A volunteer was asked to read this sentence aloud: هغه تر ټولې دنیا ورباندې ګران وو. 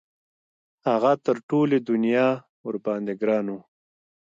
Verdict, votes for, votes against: accepted, 2, 1